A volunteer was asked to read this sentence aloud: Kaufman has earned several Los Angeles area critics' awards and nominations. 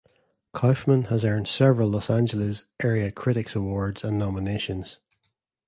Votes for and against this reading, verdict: 2, 0, accepted